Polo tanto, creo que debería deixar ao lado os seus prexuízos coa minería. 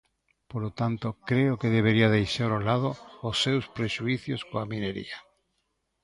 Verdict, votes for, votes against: rejected, 0, 2